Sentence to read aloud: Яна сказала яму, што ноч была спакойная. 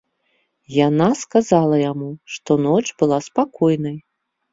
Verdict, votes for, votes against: rejected, 1, 2